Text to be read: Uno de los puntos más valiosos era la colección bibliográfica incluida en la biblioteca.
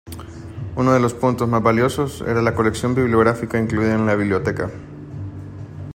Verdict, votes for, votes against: accepted, 2, 1